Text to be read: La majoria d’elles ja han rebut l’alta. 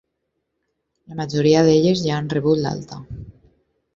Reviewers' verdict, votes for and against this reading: accepted, 4, 0